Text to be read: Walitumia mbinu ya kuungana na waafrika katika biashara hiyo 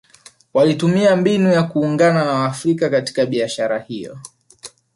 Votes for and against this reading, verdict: 1, 2, rejected